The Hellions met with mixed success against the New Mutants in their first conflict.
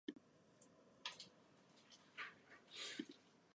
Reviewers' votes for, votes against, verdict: 0, 2, rejected